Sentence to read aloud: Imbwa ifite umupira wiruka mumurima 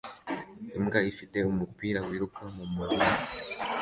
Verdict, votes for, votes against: accepted, 2, 0